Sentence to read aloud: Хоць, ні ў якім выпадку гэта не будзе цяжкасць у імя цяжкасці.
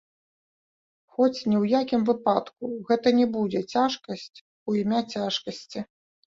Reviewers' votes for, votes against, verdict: 2, 0, accepted